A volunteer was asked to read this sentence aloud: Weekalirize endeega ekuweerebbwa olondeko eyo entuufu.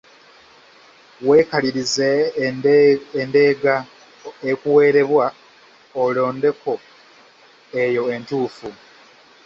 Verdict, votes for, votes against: rejected, 1, 2